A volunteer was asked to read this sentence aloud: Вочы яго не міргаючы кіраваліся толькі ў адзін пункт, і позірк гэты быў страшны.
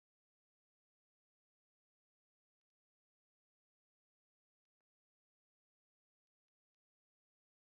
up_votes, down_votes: 0, 2